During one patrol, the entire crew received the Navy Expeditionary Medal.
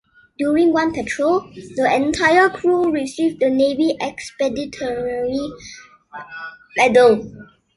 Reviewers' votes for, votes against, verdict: 0, 2, rejected